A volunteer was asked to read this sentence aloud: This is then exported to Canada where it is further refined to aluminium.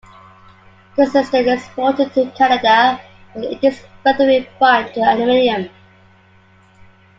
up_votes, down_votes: 2, 1